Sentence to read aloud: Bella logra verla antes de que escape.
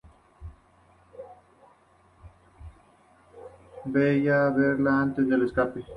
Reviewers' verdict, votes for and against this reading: rejected, 0, 2